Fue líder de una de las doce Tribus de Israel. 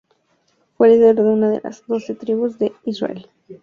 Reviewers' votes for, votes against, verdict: 2, 0, accepted